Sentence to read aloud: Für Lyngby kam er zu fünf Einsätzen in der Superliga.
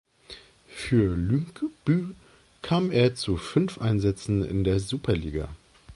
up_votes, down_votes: 1, 2